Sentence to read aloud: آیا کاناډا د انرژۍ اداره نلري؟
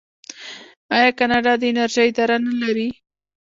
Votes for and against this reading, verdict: 2, 0, accepted